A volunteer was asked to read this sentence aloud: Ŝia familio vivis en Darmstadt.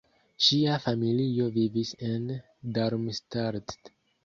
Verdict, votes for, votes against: accepted, 2, 1